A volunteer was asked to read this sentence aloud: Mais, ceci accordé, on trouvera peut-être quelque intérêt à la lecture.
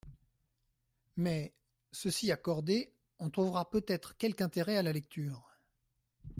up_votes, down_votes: 2, 0